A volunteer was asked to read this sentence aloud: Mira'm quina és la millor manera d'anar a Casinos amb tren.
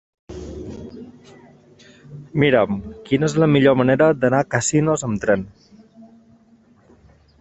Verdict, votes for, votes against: accepted, 5, 3